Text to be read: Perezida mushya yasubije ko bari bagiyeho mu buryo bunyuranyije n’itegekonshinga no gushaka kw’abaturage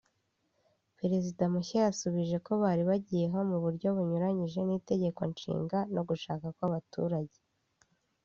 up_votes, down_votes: 2, 0